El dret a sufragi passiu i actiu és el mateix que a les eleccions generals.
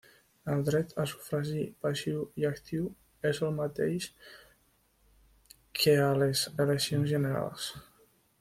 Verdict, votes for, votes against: rejected, 0, 2